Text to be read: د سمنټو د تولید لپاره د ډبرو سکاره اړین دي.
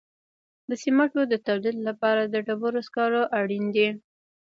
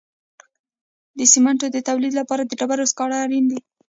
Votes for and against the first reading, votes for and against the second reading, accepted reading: 2, 0, 1, 2, first